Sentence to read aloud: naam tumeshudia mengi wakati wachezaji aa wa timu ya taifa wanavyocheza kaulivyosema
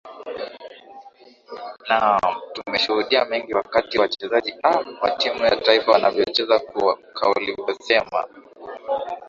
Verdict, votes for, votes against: accepted, 2, 0